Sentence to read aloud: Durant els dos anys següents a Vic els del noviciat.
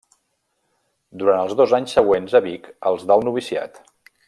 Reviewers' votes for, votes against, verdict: 1, 2, rejected